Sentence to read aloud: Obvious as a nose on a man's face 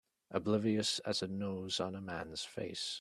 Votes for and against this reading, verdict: 0, 2, rejected